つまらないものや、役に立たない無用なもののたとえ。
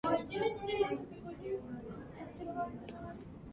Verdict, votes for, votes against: rejected, 0, 2